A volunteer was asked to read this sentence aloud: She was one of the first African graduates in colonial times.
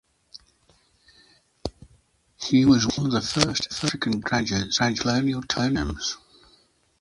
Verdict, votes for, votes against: rejected, 0, 2